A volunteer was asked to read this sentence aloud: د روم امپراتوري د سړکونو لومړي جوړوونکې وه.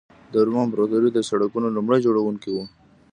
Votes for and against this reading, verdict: 1, 2, rejected